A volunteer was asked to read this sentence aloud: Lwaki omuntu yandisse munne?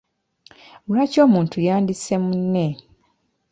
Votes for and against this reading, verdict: 2, 0, accepted